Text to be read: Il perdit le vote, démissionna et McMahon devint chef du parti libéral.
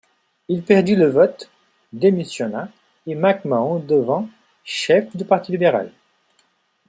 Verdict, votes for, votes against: accepted, 2, 0